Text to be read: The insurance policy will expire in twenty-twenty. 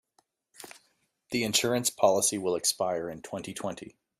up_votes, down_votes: 2, 0